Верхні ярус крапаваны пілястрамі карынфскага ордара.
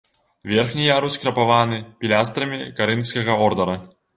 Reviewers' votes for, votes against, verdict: 2, 0, accepted